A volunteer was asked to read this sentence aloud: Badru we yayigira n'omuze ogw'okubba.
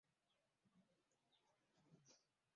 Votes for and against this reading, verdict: 1, 2, rejected